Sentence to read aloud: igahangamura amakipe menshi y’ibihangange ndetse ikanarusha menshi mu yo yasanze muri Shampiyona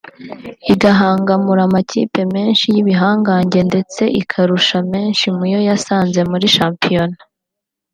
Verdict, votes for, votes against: rejected, 0, 2